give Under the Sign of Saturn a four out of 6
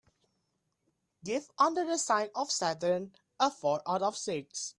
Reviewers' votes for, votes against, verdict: 0, 2, rejected